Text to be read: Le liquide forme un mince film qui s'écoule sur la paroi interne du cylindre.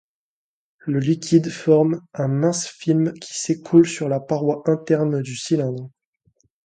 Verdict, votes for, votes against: accepted, 2, 0